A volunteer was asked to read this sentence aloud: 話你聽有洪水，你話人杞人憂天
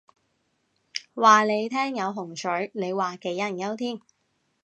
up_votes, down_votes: 1, 2